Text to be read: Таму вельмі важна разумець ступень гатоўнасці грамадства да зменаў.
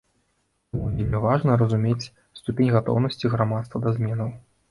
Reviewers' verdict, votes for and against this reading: rejected, 1, 2